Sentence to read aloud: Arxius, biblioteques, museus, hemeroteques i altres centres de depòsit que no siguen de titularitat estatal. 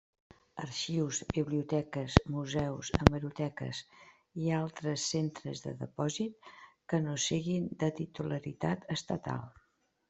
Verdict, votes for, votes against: rejected, 1, 2